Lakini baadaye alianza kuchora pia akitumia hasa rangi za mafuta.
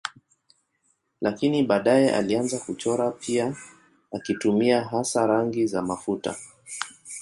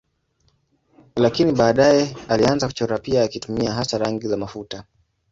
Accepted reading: first